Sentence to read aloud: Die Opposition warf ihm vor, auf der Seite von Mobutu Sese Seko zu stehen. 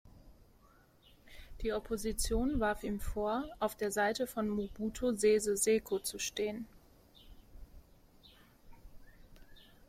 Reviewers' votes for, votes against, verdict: 1, 2, rejected